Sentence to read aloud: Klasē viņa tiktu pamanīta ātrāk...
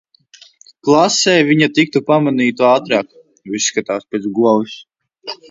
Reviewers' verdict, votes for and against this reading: rejected, 0, 2